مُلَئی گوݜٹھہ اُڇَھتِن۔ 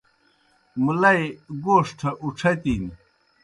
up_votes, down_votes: 2, 0